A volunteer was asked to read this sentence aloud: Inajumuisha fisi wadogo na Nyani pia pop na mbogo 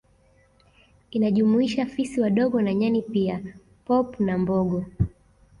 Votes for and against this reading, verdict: 2, 0, accepted